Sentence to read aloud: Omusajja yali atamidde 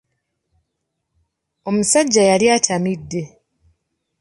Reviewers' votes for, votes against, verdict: 2, 0, accepted